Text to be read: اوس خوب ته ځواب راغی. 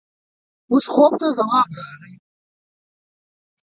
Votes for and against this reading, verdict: 1, 2, rejected